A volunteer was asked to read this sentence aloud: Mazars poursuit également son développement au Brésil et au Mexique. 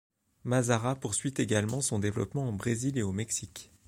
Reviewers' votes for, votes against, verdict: 1, 2, rejected